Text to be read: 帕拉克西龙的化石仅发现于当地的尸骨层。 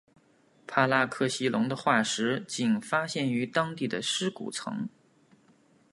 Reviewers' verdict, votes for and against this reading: accepted, 2, 0